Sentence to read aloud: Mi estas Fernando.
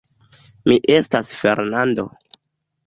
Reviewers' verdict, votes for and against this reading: accepted, 2, 0